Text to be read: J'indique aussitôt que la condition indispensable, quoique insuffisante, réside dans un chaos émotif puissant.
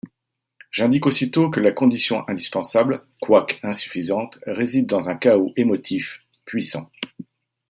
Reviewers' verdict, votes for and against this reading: accepted, 2, 0